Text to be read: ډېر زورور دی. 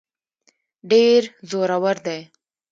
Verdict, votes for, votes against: accepted, 2, 1